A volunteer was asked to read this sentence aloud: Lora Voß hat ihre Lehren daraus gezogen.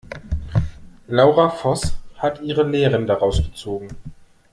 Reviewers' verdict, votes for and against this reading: rejected, 0, 2